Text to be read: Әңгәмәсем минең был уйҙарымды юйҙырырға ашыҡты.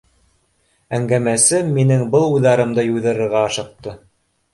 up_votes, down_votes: 2, 0